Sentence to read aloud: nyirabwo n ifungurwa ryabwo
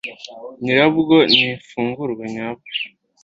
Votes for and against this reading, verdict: 1, 2, rejected